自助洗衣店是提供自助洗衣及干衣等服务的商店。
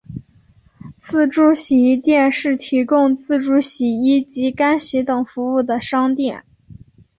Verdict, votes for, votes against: accepted, 2, 1